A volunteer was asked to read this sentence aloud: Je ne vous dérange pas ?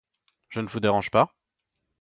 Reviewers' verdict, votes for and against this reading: accepted, 2, 0